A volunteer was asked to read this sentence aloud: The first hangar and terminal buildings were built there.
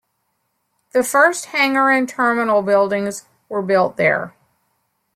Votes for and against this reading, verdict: 2, 0, accepted